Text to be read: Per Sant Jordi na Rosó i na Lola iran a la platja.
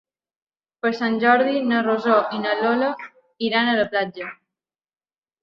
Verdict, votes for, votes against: rejected, 0, 2